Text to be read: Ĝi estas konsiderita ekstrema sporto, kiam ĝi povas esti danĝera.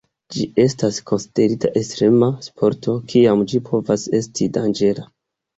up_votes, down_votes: 2, 0